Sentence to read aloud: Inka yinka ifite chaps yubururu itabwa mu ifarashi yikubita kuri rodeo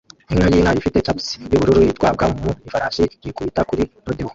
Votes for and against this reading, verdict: 0, 2, rejected